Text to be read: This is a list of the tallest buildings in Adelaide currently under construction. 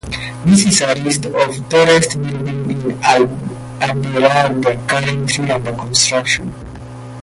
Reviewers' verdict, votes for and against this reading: rejected, 0, 2